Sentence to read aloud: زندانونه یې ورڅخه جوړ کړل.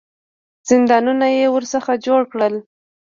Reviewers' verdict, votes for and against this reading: accepted, 2, 1